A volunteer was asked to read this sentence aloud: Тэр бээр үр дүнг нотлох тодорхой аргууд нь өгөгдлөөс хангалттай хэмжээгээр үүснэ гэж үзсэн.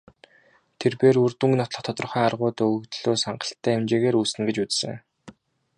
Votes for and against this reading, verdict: 2, 0, accepted